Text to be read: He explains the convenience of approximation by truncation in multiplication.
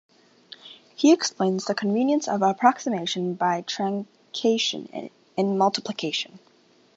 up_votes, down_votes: 1, 2